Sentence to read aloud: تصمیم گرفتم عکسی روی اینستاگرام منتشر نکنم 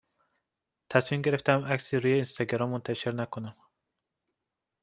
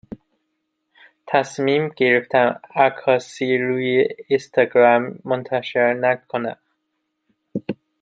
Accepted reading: first